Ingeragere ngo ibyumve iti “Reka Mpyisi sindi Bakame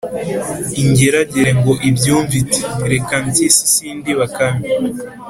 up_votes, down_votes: 2, 0